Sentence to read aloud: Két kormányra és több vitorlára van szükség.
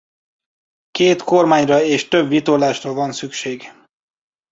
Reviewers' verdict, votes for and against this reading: rejected, 0, 2